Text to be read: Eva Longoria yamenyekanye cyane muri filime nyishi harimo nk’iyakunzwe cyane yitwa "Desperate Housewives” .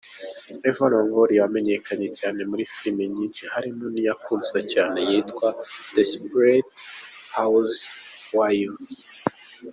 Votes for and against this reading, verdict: 2, 0, accepted